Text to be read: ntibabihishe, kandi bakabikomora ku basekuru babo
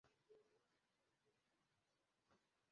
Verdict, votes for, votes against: rejected, 0, 2